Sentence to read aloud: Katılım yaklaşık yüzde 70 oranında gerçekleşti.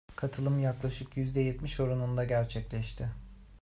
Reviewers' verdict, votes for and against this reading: rejected, 0, 2